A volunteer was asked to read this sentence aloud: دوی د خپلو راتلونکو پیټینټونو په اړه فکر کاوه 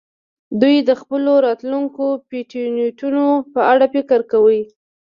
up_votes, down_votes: 1, 2